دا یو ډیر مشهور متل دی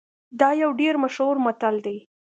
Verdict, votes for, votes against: accepted, 2, 0